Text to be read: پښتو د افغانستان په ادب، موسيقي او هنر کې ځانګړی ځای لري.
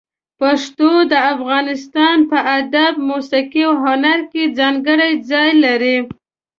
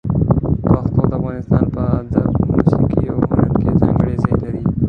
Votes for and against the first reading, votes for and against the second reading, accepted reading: 2, 0, 1, 2, first